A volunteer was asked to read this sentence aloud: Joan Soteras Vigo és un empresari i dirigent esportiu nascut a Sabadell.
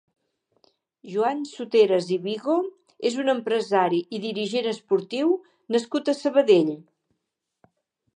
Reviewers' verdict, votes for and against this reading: rejected, 1, 2